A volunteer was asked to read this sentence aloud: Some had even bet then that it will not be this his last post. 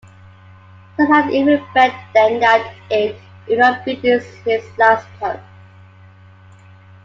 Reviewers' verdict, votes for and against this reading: accepted, 2, 1